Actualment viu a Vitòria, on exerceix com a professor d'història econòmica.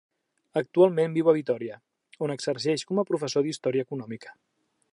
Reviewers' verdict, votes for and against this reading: accepted, 3, 0